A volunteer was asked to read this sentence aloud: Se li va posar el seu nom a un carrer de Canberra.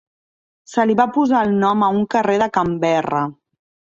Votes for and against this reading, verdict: 0, 2, rejected